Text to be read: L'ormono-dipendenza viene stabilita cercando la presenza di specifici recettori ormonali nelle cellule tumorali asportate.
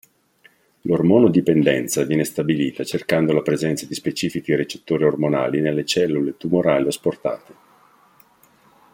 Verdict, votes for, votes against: accepted, 2, 1